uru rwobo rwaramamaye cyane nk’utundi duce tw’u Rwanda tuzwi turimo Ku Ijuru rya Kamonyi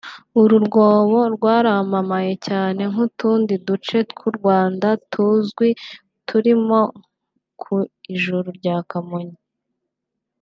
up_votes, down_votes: 2, 0